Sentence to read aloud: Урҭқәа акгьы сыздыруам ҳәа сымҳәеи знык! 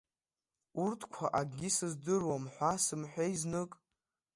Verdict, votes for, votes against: accepted, 2, 0